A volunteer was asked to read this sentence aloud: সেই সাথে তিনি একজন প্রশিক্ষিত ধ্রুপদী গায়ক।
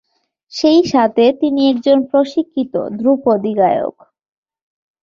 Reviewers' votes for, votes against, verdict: 2, 0, accepted